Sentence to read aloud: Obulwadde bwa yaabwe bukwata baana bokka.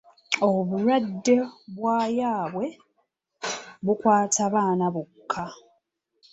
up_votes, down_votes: 2, 0